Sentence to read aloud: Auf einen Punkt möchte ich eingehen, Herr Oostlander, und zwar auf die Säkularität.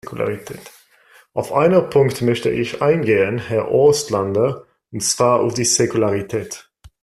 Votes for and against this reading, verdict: 1, 2, rejected